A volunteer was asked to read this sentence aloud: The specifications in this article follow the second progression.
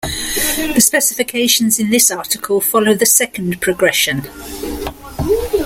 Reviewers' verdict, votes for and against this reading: accepted, 2, 0